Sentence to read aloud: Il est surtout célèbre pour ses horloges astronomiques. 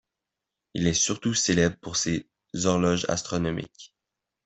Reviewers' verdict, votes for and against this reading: accepted, 2, 0